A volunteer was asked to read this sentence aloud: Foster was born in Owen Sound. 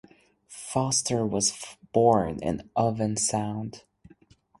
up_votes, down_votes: 4, 2